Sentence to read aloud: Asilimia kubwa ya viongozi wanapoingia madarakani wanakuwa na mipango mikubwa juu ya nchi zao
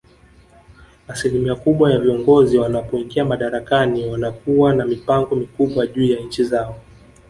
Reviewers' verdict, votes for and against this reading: accepted, 2, 0